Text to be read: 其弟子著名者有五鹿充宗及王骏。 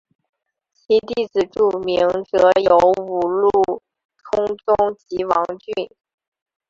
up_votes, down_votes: 0, 2